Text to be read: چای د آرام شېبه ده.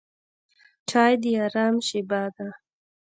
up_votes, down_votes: 2, 0